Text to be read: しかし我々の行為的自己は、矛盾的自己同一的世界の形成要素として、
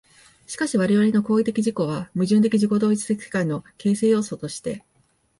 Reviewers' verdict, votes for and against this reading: rejected, 1, 2